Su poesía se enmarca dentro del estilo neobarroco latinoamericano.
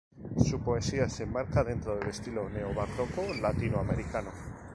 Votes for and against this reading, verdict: 2, 0, accepted